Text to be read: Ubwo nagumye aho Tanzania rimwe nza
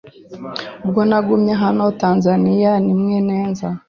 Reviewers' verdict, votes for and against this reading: accepted, 3, 0